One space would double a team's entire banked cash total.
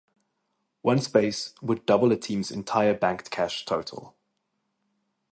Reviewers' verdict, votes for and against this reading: accepted, 4, 0